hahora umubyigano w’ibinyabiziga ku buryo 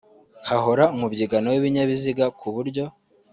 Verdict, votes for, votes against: accepted, 2, 1